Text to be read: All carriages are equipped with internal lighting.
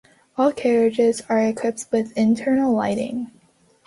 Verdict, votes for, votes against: accepted, 3, 0